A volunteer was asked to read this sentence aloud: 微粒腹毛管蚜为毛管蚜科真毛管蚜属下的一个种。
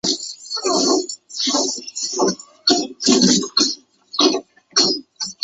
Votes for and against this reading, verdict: 0, 2, rejected